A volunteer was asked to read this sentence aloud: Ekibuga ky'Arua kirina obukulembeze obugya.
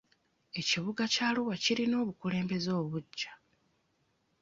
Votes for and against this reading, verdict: 0, 2, rejected